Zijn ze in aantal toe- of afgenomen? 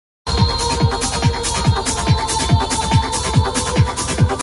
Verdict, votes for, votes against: rejected, 0, 2